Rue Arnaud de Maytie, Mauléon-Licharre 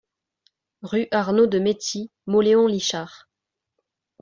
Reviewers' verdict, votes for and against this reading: accepted, 2, 0